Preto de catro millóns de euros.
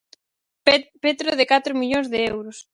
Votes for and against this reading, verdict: 0, 4, rejected